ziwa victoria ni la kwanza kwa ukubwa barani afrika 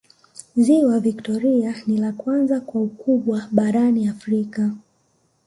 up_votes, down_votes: 0, 2